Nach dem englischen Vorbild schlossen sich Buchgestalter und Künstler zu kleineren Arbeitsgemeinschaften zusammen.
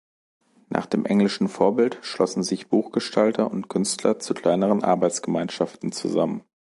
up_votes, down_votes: 2, 0